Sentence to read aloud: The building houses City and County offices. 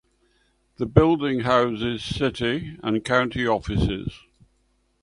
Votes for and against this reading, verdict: 2, 0, accepted